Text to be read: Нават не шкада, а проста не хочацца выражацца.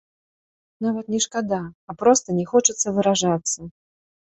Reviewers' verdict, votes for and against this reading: rejected, 1, 2